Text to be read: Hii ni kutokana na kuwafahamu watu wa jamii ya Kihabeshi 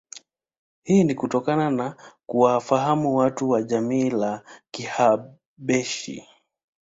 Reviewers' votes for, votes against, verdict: 1, 2, rejected